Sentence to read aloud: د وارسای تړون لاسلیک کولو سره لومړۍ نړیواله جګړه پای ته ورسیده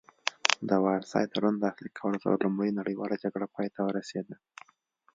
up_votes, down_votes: 2, 1